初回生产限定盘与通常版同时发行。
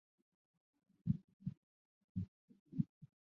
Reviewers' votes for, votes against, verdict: 0, 2, rejected